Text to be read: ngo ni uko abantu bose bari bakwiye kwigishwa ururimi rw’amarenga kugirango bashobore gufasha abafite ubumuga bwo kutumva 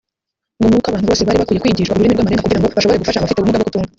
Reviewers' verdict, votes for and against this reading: rejected, 0, 2